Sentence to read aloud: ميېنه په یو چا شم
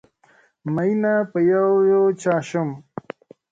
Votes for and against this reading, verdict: 2, 0, accepted